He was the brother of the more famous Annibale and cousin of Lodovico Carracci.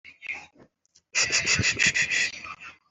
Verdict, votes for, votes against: rejected, 0, 2